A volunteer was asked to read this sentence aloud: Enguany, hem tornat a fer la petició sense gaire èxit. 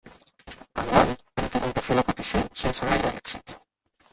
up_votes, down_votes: 0, 4